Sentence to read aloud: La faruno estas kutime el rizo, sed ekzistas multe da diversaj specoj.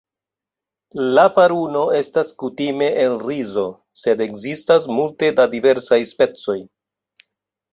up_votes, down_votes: 2, 0